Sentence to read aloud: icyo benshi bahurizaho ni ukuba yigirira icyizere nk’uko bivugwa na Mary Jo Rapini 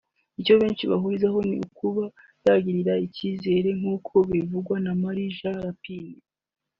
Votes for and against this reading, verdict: 3, 2, accepted